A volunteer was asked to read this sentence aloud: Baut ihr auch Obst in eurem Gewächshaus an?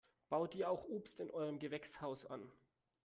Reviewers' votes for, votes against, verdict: 2, 0, accepted